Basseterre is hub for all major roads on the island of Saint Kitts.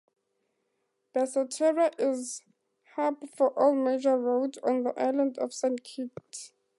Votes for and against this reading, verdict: 2, 0, accepted